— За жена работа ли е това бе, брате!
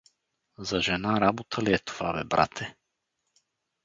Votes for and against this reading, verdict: 0, 2, rejected